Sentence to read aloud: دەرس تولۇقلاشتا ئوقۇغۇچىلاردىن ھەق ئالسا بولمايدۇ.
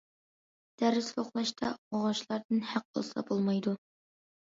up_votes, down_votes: 0, 2